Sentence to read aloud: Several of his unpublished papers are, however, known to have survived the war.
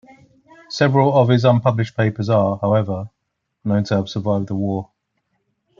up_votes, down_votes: 2, 0